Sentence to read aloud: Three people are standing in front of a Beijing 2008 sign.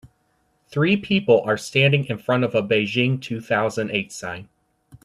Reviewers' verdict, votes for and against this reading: rejected, 0, 2